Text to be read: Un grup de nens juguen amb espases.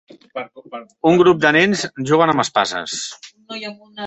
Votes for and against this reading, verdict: 1, 2, rejected